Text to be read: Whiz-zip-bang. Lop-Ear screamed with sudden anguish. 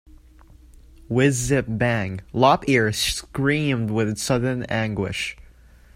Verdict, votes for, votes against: accepted, 2, 0